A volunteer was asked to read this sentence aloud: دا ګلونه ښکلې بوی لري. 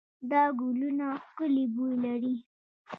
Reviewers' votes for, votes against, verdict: 1, 2, rejected